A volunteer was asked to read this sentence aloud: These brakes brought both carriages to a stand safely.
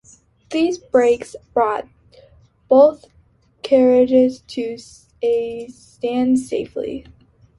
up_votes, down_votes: 2, 1